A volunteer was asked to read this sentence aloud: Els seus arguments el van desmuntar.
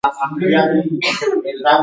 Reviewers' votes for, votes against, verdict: 1, 2, rejected